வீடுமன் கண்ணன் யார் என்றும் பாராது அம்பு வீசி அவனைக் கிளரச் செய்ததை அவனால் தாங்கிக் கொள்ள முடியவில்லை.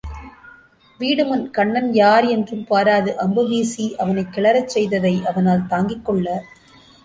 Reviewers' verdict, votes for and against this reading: rejected, 0, 2